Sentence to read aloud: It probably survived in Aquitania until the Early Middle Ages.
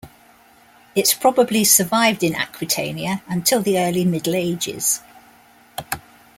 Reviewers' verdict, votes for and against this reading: rejected, 0, 2